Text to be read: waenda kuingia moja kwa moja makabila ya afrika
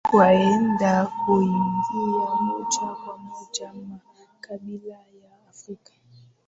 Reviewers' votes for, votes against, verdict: 2, 0, accepted